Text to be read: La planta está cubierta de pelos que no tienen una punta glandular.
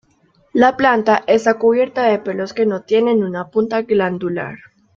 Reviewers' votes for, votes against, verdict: 2, 0, accepted